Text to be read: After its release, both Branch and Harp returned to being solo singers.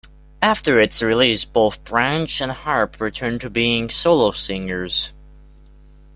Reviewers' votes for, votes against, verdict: 2, 0, accepted